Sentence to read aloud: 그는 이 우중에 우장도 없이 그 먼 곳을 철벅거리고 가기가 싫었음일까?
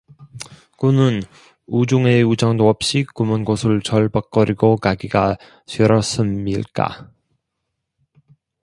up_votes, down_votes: 2, 0